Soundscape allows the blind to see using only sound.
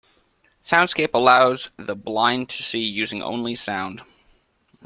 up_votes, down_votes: 2, 0